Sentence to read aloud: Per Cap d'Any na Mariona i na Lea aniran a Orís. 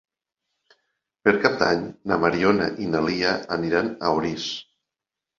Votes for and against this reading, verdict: 1, 2, rejected